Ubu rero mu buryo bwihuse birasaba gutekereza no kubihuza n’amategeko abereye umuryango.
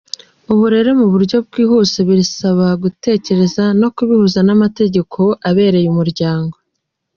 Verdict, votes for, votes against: accepted, 2, 0